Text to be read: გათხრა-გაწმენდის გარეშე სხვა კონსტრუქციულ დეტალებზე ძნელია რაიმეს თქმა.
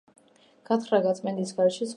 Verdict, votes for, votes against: rejected, 0, 2